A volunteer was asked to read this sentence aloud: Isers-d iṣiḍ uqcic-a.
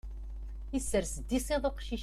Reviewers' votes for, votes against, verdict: 0, 2, rejected